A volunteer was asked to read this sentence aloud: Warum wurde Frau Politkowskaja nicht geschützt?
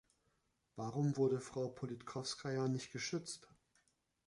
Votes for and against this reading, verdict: 1, 2, rejected